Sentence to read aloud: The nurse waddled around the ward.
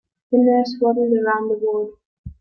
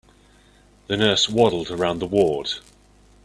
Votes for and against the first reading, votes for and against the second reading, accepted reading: 2, 4, 2, 0, second